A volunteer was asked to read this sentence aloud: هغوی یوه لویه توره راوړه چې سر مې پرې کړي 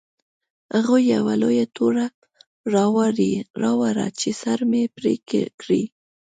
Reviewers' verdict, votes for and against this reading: rejected, 1, 2